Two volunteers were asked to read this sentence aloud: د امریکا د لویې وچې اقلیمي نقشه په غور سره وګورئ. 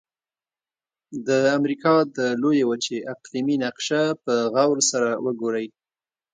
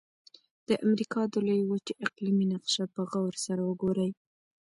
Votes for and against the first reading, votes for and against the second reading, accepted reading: 2, 0, 0, 2, first